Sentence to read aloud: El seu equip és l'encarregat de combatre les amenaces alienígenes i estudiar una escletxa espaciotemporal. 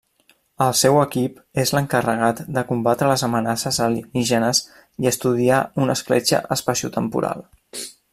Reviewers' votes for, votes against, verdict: 1, 2, rejected